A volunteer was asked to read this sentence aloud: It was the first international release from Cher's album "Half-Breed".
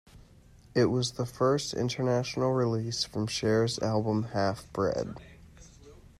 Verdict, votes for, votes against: accepted, 2, 1